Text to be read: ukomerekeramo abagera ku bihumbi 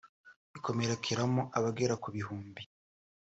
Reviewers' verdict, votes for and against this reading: rejected, 1, 2